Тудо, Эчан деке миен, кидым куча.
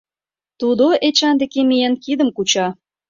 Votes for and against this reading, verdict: 2, 0, accepted